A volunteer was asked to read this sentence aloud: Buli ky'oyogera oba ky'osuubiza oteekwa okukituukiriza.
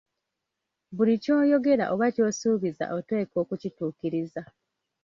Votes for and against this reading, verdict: 2, 0, accepted